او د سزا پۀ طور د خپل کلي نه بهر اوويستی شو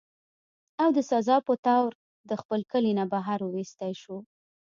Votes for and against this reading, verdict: 2, 0, accepted